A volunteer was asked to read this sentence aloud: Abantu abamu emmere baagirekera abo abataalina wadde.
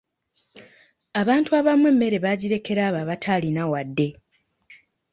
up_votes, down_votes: 2, 0